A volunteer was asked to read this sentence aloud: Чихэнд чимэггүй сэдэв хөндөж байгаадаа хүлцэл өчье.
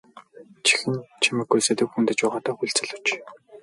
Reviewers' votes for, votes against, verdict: 2, 2, rejected